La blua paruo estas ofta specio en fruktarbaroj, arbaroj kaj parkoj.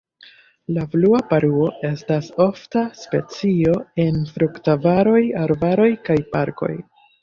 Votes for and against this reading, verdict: 1, 2, rejected